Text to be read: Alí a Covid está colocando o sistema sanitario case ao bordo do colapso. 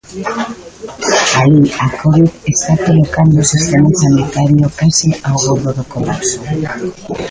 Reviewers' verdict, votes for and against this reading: rejected, 0, 2